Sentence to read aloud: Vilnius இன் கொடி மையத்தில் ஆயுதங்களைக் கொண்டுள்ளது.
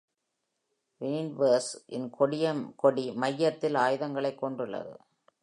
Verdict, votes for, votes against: rejected, 1, 2